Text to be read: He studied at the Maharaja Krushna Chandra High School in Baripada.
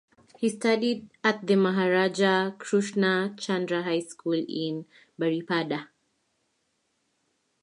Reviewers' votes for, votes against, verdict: 2, 0, accepted